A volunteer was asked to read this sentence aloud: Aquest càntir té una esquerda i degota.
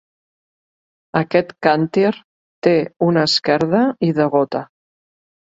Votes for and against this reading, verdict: 2, 0, accepted